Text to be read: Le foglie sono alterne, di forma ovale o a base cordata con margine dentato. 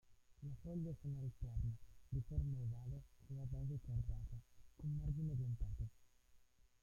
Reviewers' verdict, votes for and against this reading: rejected, 0, 2